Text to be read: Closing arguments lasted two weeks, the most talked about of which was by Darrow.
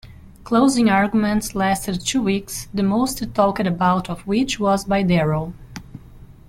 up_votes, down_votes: 2, 0